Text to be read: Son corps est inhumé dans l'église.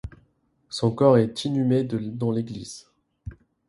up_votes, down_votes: 0, 2